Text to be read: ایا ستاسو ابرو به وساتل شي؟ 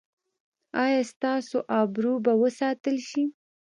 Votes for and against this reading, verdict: 2, 1, accepted